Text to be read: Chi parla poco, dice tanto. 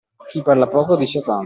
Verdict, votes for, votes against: accepted, 2, 0